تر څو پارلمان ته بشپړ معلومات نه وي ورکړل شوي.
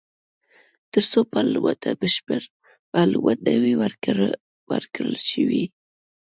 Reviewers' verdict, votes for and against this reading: rejected, 0, 2